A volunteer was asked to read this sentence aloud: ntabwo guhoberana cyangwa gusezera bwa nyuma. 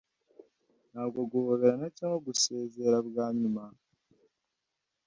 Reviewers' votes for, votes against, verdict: 2, 0, accepted